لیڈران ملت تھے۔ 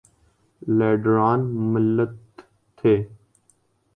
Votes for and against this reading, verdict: 3, 1, accepted